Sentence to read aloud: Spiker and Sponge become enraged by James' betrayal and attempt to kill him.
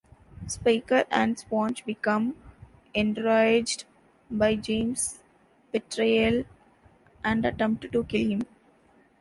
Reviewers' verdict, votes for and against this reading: rejected, 1, 2